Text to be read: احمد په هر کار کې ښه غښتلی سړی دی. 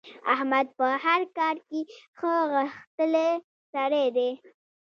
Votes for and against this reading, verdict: 2, 0, accepted